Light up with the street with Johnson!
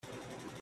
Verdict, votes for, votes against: rejected, 0, 3